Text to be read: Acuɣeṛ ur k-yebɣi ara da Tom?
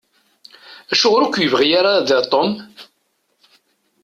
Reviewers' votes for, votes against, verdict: 2, 0, accepted